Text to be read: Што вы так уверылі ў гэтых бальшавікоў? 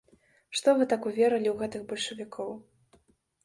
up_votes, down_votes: 2, 0